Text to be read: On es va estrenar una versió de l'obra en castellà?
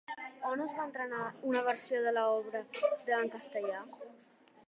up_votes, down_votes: 0, 2